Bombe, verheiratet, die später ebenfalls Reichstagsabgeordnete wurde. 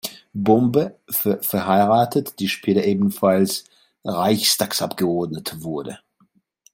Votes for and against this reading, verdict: 0, 2, rejected